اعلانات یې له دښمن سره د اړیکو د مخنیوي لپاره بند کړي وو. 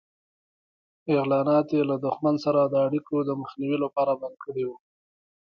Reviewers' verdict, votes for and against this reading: rejected, 0, 2